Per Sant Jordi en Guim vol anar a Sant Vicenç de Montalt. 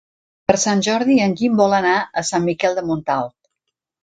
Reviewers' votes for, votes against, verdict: 0, 2, rejected